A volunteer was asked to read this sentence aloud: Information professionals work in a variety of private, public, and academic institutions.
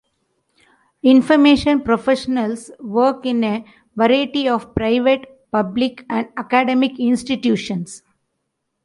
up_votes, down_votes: 3, 0